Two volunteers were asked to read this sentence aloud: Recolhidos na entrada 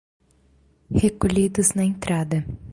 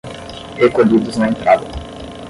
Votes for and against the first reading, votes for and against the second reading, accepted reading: 2, 0, 5, 5, first